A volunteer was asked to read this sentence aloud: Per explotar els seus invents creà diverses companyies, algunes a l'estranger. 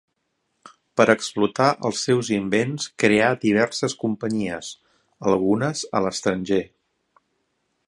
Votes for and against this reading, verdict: 4, 0, accepted